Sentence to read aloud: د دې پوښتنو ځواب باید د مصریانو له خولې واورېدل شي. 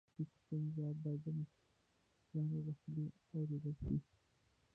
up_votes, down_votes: 1, 2